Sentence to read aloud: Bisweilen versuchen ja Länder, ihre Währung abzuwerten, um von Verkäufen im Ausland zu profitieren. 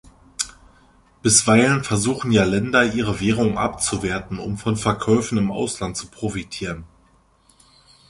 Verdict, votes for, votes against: accepted, 2, 0